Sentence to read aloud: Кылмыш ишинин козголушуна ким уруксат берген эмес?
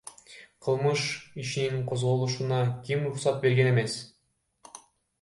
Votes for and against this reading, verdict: 0, 2, rejected